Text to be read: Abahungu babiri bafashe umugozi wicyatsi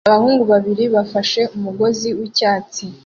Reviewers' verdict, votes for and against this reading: accepted, 2, 0